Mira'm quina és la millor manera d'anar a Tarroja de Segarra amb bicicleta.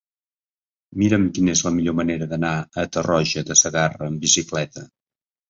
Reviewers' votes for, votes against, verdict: 5, 0, accepted